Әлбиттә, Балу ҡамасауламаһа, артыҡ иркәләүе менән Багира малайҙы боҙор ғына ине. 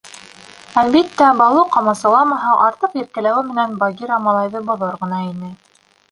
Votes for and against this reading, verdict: 1, 2, rejected